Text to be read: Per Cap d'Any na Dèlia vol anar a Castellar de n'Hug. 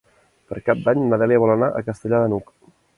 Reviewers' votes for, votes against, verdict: 3, 0, accepted